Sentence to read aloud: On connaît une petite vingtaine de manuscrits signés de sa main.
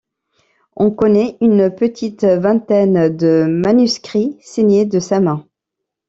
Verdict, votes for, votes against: accepted, 2, 0